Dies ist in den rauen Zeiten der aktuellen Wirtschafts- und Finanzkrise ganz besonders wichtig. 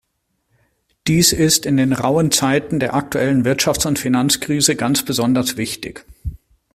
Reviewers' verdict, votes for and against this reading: accepted, 2, 0